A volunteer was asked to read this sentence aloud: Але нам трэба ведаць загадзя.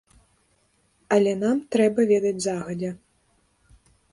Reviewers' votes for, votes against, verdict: 2, 0, accepted